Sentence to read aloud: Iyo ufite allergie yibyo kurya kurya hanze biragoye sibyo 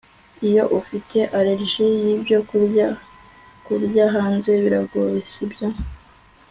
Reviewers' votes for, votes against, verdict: 2, 0, accepted